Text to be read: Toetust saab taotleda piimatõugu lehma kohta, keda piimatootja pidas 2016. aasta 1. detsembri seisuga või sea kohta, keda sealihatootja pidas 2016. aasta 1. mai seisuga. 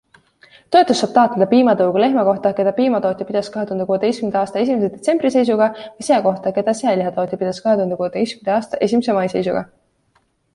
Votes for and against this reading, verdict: 0, 2, rejected